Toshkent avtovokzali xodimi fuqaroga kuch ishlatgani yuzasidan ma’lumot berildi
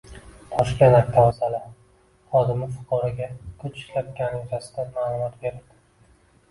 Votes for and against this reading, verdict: 1, 2, rejected